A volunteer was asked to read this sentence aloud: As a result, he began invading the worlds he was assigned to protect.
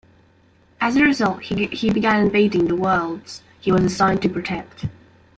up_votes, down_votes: 0, 2